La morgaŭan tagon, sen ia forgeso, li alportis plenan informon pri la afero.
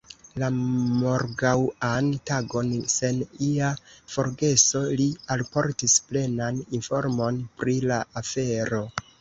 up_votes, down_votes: 0, 2